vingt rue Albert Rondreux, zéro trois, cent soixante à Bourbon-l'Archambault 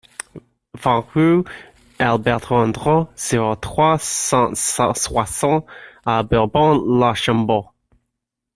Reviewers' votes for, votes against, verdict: 0, 2, rejected